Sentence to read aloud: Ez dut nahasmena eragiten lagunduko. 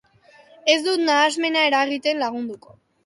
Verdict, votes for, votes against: accepted, 3, 0